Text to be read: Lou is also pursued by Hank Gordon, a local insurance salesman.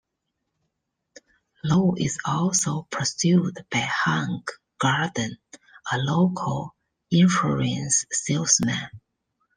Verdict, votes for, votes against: rejected, 1, 2